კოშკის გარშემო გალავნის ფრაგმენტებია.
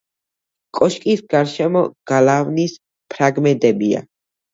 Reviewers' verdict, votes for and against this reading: accepted, 2, 0